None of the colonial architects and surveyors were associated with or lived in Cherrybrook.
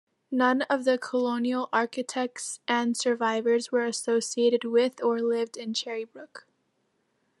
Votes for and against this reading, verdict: 1, 2, rejected